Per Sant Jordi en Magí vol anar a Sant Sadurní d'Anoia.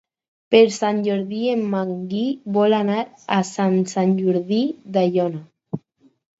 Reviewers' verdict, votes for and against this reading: rejected, 2, 4